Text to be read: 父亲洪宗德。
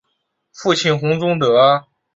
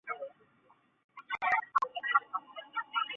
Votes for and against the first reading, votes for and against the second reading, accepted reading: 2, 0, 0, 3, first